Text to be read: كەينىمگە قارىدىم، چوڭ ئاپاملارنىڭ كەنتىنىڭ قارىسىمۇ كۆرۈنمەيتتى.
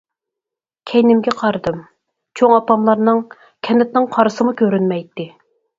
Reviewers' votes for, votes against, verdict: 4, 0, accepted